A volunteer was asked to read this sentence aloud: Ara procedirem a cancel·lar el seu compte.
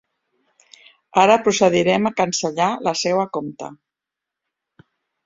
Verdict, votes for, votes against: rejected, 0, 2